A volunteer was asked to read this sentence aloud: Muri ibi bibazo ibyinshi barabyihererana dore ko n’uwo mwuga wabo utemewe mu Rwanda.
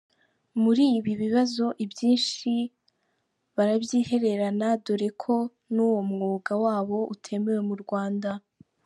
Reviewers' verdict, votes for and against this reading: accepted, 2, 0